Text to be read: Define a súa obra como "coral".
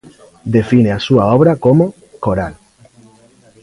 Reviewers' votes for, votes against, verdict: 2, 0, accepted